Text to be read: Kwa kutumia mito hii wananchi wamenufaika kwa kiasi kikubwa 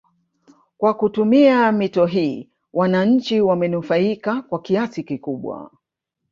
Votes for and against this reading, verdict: 1, 2, rejected